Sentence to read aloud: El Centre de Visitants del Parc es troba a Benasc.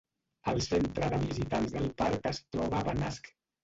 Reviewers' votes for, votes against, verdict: 1, 2, rejected